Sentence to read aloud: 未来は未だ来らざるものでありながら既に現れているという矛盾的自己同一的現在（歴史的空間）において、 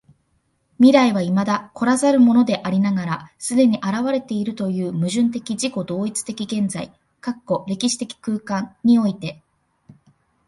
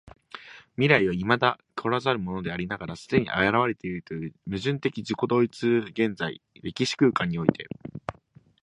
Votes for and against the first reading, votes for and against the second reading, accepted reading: 2, 0, 1, 2, first